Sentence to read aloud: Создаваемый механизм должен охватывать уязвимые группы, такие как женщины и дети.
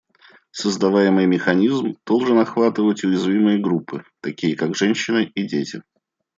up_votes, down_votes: 2, 0